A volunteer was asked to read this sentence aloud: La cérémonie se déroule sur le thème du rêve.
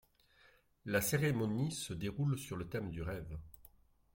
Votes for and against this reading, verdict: 2, 0, accepted